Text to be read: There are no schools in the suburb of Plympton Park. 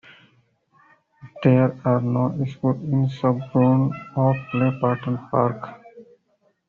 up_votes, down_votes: 0, 2